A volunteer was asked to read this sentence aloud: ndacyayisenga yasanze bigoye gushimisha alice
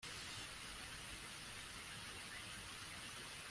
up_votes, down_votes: 0, 2